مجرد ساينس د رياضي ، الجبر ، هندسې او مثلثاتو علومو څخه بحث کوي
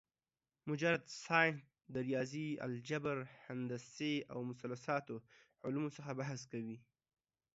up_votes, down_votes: 2, 0